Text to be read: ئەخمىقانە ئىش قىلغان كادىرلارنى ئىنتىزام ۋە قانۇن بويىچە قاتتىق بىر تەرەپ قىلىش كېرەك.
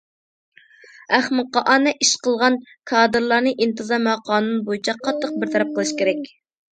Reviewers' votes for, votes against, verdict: 2, 0, accepted